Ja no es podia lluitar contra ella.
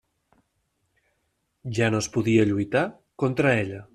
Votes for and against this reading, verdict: 3, 0, accepted